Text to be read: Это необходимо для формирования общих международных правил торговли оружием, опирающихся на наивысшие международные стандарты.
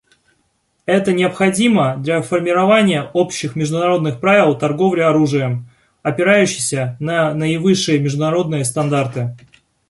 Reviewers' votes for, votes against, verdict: 2, 0, accepted